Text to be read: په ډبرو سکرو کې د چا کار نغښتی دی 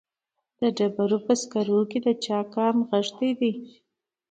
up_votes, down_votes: 2, 0